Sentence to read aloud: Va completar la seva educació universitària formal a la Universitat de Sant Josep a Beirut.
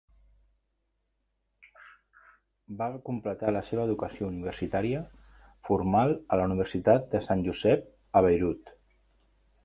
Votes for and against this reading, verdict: 1, 2, rejected